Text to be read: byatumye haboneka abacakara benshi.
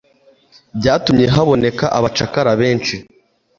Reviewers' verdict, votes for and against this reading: accepted, 2, 0